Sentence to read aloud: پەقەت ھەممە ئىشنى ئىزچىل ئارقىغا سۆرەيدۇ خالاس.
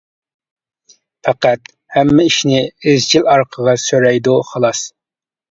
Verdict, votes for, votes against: accepted, 2, 0